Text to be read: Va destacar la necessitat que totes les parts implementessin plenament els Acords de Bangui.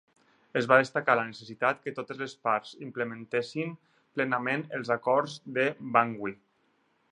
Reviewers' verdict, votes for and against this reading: rejected, 2, 4